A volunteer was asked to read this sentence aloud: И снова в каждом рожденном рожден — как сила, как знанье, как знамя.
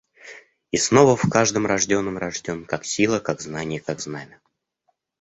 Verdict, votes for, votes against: accepted, 2, 0